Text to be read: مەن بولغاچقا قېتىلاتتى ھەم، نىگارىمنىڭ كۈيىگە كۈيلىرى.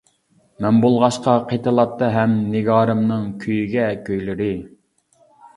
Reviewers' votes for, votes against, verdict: 1, 2, rejected